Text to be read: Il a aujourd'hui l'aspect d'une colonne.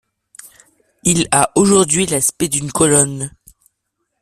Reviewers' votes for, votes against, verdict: 2, 0, accepted